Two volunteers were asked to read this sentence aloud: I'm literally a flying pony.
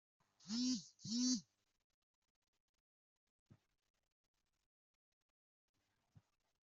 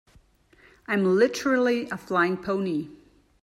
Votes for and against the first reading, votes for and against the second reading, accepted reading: 0, 2, 2, 0, second